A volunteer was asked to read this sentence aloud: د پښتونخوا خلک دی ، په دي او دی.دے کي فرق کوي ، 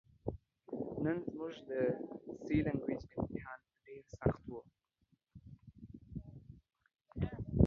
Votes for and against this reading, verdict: 0, 2, rejected